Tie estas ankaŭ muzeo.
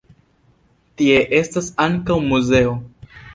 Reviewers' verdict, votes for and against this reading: rejected, 0, 2